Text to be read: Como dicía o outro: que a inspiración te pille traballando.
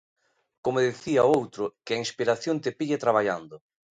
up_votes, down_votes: 2, 1